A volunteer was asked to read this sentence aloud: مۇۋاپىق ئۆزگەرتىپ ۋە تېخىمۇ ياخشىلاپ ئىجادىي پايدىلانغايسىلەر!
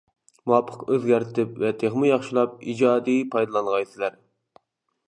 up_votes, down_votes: 2, 0